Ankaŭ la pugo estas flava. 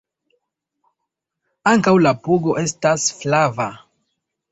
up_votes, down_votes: 0, 2